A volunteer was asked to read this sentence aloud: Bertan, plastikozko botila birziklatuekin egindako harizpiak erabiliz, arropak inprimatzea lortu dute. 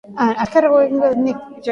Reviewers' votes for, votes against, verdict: 0, 2, rejected